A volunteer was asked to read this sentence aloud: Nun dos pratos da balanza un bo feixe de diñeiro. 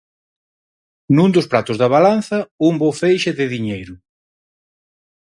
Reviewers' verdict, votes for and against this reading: accepted, 4, 0